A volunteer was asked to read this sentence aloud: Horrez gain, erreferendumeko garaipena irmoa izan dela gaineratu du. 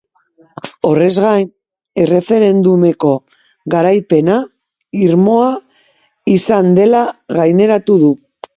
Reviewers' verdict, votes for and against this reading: accepted, 2, 0